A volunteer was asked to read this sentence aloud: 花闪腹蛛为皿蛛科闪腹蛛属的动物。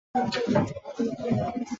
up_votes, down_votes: 0, 2